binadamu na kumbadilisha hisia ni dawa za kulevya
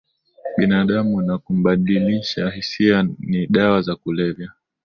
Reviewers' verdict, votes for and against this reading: accepted, 13, 1